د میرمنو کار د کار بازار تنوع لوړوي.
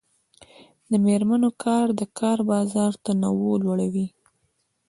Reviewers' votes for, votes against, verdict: 2, 0, accepted